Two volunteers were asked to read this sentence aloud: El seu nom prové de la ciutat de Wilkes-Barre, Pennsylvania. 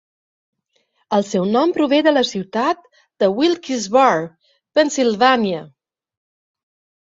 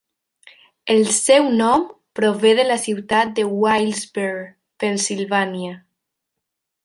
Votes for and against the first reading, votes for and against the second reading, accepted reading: 2, 0, 1, 2, first